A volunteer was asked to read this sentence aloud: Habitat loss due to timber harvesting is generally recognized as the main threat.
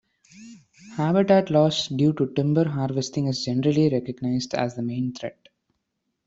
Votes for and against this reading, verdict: 1, 2, rejected